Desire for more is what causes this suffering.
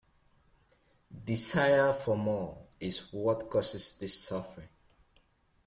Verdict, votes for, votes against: accepted, 2, 0